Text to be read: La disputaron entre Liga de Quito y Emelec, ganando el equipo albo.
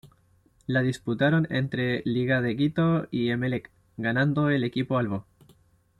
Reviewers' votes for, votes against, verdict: 2, 0, accepted